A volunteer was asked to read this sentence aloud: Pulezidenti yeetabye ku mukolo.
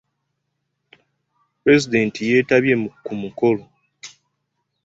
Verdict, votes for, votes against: accepted, 2, 0